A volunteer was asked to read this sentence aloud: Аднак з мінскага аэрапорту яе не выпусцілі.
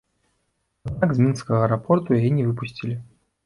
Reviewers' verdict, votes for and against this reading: rejected, 0, 2